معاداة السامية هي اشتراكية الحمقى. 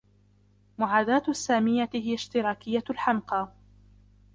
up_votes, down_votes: 0, 2